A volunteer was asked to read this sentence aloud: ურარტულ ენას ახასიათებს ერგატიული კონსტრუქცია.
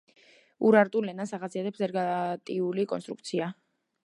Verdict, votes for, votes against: rejected, 1, 2